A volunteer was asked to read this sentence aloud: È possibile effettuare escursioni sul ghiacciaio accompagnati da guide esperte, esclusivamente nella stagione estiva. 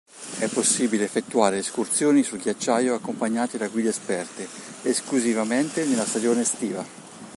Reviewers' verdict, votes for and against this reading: accepted, 2, 0